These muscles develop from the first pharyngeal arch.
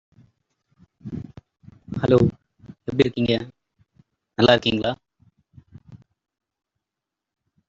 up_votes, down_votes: 0, 2